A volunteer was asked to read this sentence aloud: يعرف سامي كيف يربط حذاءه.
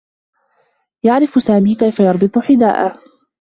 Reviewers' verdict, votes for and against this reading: accepted, 2, 0